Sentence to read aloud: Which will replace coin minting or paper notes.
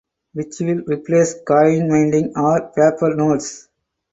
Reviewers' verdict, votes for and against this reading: accepted, 4, 2